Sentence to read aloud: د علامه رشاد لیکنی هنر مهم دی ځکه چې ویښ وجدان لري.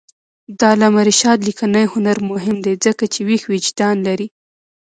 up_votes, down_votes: 0, 2